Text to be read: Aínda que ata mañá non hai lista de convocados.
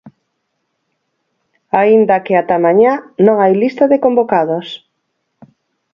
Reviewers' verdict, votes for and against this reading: accepted, 4, 0